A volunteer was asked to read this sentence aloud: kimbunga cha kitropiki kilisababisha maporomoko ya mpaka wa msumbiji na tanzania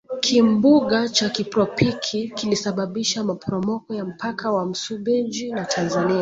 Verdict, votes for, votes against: rejected, 1, 2